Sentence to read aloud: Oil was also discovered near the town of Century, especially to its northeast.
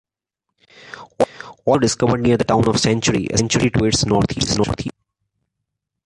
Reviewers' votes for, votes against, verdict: 0, 2, rejected